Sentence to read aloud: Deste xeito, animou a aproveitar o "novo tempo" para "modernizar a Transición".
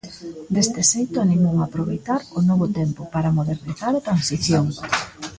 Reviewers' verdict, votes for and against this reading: rejected, 0, 2